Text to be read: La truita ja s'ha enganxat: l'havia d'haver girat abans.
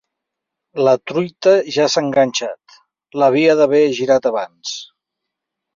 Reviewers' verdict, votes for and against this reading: accepted, 3, 0